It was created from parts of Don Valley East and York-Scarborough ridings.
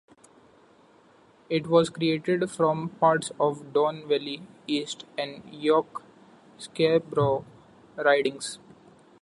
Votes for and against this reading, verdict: 2, 1, accepted